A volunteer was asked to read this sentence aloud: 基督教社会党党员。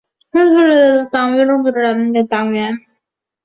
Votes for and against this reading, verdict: 1, 3, rejected